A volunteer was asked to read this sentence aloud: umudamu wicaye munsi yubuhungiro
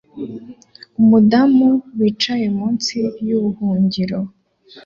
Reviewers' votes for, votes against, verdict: 3, 0, accepted